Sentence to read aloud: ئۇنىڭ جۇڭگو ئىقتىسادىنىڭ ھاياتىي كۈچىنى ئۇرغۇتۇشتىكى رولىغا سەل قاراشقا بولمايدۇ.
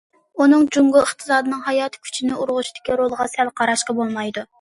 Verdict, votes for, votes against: accepted, 2, 0